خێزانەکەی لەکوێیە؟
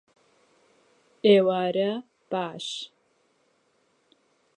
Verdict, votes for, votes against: rejected, 0, 2